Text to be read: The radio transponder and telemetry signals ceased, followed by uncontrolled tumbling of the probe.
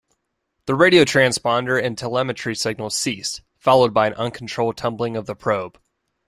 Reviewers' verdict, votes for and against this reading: accepted, 2, 0